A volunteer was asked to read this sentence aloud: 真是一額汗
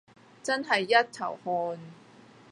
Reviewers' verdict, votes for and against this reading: rejected, 0, 3